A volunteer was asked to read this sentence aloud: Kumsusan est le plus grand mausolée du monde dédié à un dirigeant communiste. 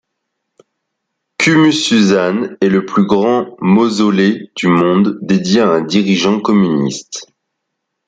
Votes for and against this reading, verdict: 2, 0, accepted